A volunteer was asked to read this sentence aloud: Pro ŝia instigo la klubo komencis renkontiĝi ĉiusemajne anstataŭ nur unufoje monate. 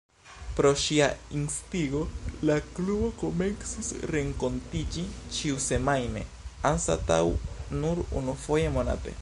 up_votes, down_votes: 2, 0